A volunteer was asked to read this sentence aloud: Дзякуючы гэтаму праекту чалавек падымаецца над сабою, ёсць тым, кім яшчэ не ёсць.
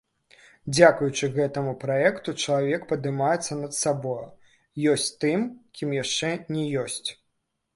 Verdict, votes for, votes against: rejected, 1, 2